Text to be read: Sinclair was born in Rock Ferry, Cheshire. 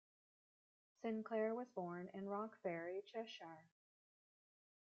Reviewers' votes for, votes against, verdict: 1, 2, rejected